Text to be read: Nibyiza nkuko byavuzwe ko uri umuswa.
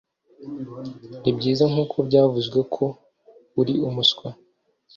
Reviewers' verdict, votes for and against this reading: accepted, 2, 0